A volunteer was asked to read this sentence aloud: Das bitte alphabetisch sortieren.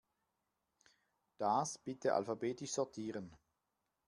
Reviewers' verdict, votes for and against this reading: accepted, 2, 0